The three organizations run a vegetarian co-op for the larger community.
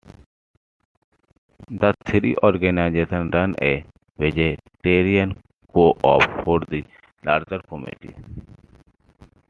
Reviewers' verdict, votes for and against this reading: rejected, 1, 2